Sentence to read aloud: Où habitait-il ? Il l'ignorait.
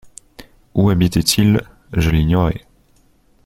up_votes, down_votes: 0, 2